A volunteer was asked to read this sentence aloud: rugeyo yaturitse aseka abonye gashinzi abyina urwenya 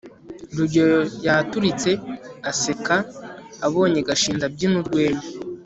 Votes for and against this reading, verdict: 2, 0, accepted